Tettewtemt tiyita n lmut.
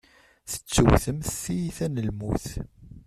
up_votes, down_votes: 0, 2